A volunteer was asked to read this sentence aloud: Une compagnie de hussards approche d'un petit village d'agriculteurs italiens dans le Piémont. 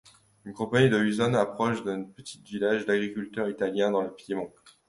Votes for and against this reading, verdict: 2, 0, accepted